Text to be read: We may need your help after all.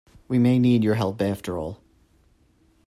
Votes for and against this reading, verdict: 2, 0, accepted